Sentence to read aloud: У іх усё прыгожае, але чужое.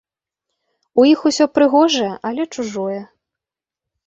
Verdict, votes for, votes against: accepted, 2, 0